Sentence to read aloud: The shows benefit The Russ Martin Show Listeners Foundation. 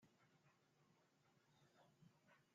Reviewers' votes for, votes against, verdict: 0, 2, rejected